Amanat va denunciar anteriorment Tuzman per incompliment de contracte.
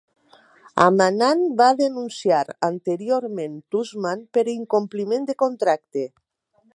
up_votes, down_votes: 0, 2